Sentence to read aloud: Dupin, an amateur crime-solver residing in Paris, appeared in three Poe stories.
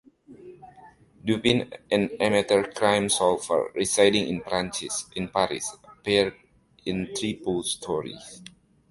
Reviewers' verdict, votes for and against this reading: rejected, 0, 2